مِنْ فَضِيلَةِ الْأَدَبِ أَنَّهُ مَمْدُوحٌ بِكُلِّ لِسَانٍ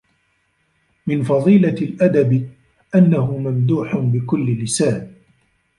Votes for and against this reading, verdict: 1, 2, rejected